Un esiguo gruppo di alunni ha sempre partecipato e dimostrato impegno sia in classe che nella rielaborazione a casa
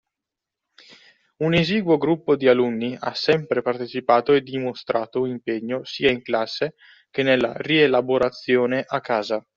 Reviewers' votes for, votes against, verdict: 2, 0, accepted